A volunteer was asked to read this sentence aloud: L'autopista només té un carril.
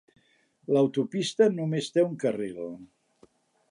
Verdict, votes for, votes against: accepted, 3, 0